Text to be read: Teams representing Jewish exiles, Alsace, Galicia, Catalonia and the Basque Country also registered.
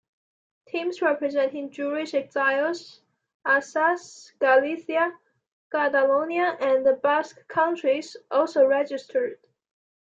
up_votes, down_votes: 2, 0